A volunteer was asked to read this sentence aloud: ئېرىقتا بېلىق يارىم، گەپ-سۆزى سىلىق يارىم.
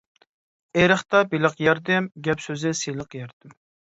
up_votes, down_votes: 0, 2